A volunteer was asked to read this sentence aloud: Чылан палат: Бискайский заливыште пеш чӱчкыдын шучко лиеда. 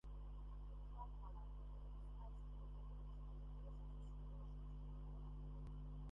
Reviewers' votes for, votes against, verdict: 0, 2, rejected